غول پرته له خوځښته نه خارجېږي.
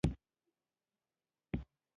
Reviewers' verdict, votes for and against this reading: rejected, 0, 2